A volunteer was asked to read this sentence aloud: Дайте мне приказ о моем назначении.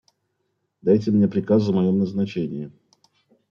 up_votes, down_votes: 1, 2